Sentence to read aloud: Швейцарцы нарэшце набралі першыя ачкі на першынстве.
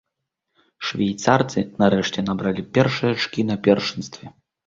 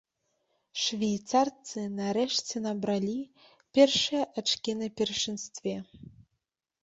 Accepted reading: first